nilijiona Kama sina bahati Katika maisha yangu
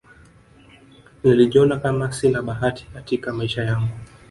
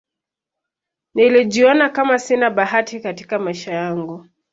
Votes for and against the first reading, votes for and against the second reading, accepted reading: 1, 2, 2, 0, second